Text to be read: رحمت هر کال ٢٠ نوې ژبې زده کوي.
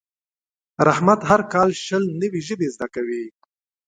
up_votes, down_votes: 0, 2